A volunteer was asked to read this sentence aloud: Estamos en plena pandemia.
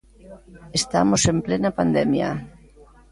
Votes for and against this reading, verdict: 2, 1, accepted